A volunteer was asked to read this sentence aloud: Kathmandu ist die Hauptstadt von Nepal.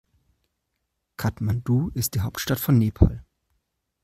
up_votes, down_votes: 2, 0